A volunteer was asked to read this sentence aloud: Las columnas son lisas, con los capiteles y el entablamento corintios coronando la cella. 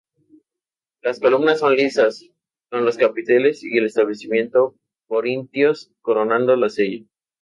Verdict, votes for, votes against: rejected, 0, 2